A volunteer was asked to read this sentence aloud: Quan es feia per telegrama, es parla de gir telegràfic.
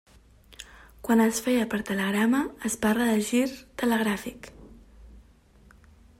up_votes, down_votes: 3, 0